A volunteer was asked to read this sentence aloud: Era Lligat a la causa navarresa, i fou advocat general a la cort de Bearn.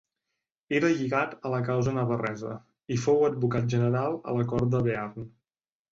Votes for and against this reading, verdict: 2, 0, accepted